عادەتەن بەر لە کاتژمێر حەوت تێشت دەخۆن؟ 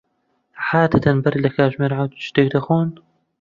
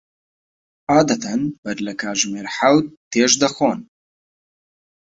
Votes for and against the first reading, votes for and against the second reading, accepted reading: 0, 2, 2, 0, second